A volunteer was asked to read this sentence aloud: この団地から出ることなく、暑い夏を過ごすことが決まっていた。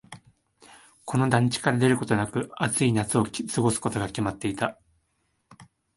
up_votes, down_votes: 2, 0